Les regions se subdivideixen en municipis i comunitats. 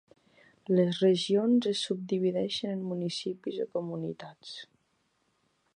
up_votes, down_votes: 1, 2